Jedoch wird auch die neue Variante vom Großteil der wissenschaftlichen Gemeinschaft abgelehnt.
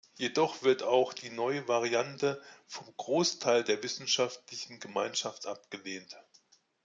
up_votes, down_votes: 2, 0